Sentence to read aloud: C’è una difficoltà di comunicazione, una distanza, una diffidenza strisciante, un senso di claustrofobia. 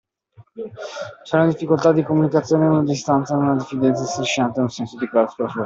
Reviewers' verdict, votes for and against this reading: rejected, 0, 2